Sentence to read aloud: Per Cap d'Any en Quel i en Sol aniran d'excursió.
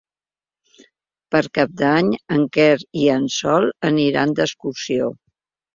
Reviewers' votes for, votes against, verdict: 0, 3, rejected